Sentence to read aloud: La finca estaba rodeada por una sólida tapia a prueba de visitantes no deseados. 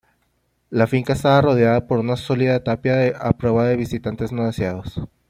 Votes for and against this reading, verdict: 1, 2, rejected